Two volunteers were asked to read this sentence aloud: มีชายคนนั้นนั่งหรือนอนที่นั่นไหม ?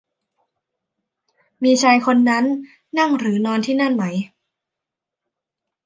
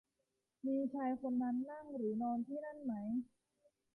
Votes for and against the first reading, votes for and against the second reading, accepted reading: 2, 0, 1, 2, first